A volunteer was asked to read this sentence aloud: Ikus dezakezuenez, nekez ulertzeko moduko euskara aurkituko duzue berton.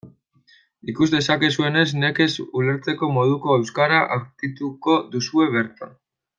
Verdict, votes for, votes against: rejected, 0, 2